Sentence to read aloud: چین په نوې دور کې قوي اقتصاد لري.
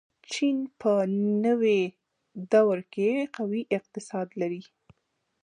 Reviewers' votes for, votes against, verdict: 1, 3, rejected